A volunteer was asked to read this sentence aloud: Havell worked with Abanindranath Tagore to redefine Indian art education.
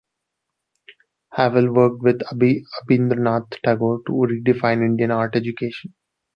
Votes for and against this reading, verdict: 2, 1, accepted